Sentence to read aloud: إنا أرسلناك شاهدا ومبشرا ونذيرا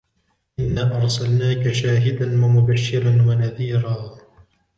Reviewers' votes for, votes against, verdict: 2, 0, accepted